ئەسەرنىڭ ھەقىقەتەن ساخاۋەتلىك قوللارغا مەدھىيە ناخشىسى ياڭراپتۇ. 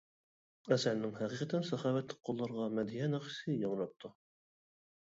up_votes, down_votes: 2, 0